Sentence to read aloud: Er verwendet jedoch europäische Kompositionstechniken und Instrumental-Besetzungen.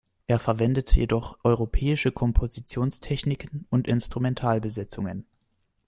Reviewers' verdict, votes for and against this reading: accepted, 2, 0